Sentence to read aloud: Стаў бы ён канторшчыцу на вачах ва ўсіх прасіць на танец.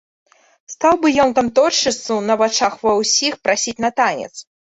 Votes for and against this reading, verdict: 1, 2, rejected